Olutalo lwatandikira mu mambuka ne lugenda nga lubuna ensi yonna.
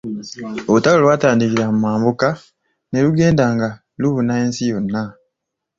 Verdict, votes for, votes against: accepted, 2, 0